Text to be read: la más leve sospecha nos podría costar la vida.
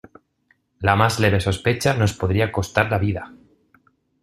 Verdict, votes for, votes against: accepted, 2, 0